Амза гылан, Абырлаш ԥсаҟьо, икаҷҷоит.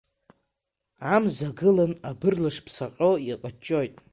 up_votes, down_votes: 2, 3